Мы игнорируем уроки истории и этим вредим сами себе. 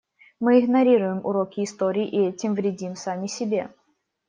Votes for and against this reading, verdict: 2, 0, accepted